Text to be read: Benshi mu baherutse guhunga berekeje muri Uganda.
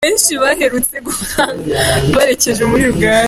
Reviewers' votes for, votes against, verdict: 1, 2, rejected